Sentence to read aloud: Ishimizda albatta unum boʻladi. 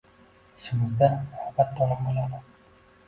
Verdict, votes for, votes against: accepted, 2, 1